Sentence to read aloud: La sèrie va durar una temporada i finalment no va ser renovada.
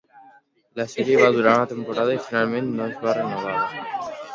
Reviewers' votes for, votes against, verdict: 0, 2, rejected